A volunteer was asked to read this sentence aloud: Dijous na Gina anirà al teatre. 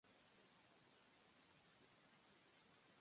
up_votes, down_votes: 0, 2